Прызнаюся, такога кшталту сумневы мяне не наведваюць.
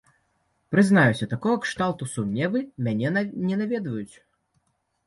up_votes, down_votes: 1, 2